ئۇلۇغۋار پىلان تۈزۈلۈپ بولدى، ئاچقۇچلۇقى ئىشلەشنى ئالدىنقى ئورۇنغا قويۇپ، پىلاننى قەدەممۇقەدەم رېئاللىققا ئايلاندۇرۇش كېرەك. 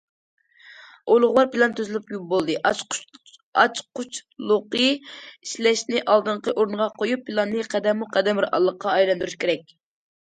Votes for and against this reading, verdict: 0, 2, rejected